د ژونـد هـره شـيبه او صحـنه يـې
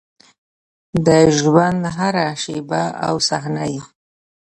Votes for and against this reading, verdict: 0, 2, rejected